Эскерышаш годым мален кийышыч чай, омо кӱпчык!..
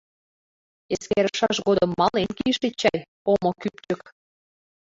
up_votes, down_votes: 0, 2